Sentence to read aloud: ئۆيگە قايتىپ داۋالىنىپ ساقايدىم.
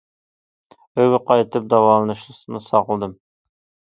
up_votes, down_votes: 0, 2